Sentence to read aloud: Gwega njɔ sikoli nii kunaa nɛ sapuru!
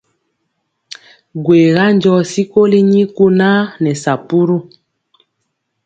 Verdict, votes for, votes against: accepted, 2, 0